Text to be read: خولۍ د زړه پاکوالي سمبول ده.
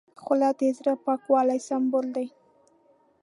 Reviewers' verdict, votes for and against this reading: rejected, 1, 2